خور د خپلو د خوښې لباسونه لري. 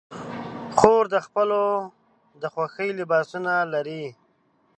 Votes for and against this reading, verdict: 1, 2, rejected